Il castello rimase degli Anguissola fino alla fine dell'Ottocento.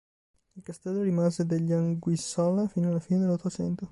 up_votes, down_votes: 1, 2